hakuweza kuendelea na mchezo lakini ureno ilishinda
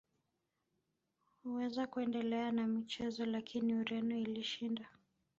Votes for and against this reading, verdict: 0, 2, rejected